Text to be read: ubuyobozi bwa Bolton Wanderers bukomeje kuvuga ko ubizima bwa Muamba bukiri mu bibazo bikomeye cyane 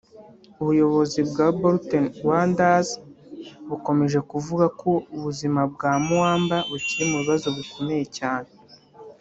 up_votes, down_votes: 2, 1